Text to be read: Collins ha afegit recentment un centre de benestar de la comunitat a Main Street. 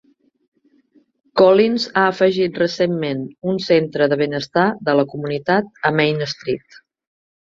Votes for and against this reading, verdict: 2, 0, accepted